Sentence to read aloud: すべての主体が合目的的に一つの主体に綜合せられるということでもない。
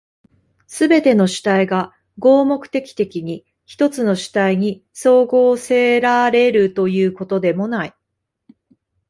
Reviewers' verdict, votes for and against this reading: rejected, 1, 2